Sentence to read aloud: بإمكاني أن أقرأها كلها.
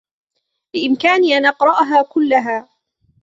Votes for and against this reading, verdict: 2, 0, accepted